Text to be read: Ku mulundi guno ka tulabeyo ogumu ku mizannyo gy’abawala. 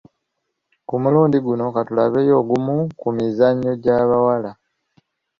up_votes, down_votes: 2, 0